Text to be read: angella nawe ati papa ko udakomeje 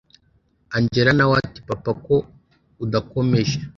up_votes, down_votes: 2, 0